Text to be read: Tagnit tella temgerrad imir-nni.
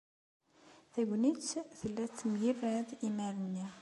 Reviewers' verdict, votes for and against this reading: accepted, 2, 1